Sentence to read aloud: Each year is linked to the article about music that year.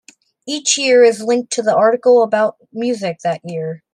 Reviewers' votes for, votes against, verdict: 2, 0, accepted